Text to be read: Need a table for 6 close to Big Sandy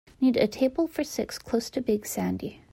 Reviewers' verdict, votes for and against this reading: rejected, 0, 2